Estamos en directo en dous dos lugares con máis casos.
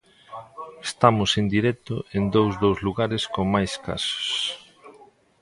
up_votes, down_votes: 2, 0